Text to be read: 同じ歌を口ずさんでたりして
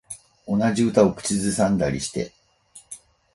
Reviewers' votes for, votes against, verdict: 4, 0, accepted